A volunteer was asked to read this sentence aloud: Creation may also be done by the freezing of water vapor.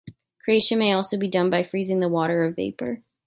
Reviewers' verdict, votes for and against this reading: rejected, 0, 2